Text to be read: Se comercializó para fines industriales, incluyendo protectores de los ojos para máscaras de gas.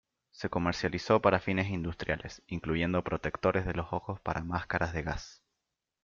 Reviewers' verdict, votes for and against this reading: rejected, 0, 2